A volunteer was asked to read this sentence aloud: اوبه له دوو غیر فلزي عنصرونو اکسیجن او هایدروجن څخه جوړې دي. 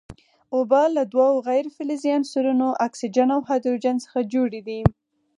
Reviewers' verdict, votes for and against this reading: accepted, 4, 0